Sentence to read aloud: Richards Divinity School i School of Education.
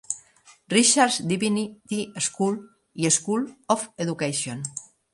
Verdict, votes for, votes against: accepted, 3, 0